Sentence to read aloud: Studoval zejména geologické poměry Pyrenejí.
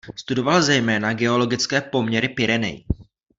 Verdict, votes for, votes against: accepted, 2, 0